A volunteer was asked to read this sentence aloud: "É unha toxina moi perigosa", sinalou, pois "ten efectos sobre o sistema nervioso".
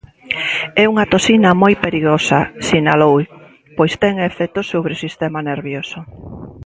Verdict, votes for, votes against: accepted, 2, 0